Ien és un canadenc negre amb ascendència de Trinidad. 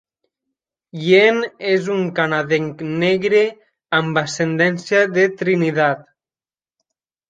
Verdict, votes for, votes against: rejected, 0, 2